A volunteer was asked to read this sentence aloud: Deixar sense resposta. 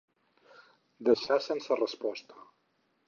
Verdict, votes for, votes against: accepted, 4, 0